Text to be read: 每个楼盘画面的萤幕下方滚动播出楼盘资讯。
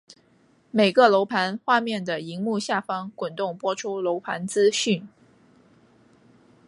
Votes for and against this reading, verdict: 2, 0, accepted